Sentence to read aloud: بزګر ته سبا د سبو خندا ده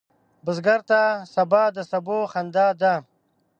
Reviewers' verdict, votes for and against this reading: accepted, 2, 0